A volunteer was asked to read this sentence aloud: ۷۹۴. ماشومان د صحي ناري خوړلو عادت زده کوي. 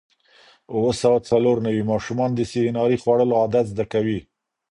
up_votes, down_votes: 0, 2